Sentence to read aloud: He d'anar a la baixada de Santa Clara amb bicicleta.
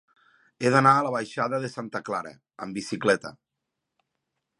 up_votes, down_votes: 3, 0